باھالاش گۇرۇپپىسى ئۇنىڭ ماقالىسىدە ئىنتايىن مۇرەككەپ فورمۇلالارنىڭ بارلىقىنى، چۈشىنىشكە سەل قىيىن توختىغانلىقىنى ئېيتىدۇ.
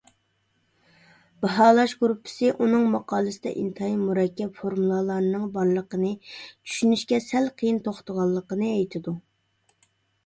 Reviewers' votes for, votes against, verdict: 2, 0, accepted